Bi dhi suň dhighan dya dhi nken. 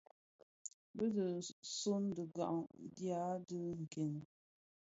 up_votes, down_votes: 2, 0